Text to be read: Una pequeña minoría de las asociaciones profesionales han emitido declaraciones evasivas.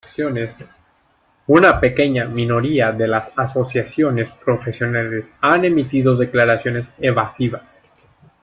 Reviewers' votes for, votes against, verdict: 2, 1, accepted